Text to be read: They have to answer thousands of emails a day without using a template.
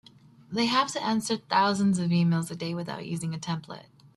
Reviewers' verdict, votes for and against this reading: accepted, 2, 0